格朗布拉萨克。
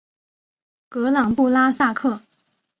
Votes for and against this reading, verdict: 2, 0, accepted